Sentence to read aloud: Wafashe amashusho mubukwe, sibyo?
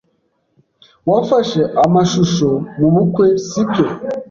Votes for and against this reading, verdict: 2, 0, accepted